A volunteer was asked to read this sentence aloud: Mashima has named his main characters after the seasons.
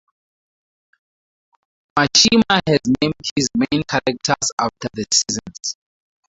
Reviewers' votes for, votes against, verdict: 0, 4, rejected